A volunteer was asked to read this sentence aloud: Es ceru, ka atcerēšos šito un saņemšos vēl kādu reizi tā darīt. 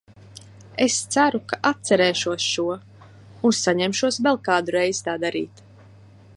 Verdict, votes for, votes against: rejected, 1, 2